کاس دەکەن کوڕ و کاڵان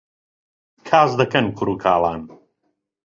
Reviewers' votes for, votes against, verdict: 2, 0, accepted